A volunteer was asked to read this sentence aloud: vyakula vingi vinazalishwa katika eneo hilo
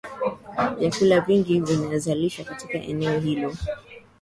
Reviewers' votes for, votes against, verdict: 2, 0, accepted